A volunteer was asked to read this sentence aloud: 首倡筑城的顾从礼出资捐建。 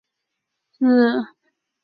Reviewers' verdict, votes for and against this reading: rejected, 1, 4